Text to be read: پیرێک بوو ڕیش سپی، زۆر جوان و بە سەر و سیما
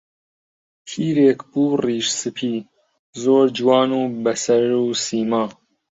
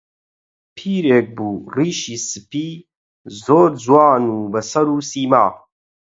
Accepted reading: first